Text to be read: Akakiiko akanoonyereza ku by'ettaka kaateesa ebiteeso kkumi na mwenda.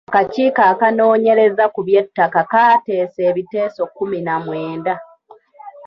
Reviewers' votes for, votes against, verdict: 0, 2, rejected